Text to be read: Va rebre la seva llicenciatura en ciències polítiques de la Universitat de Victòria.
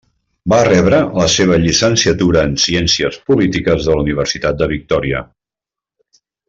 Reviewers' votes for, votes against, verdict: 3, 0, accepted